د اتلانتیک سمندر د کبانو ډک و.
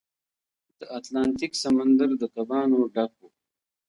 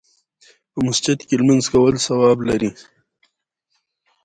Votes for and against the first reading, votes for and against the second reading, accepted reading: 3, 0, 1, 2, first